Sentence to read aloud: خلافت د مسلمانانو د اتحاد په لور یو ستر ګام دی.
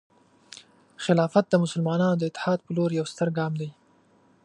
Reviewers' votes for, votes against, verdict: 2, 0, accepted